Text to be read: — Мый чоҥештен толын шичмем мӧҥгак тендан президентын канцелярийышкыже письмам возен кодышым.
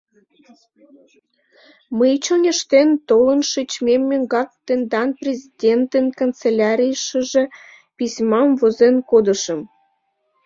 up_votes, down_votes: 0, 2